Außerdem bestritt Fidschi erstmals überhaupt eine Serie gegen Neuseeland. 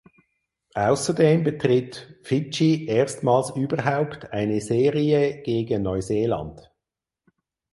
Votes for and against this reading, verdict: 0, 4, rejected